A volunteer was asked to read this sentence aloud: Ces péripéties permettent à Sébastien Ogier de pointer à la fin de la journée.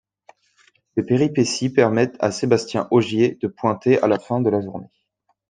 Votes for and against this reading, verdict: 1, 2, rejected